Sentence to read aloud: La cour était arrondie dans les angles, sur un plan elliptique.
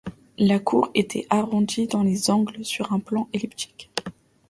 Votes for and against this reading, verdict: 2, 0, accepted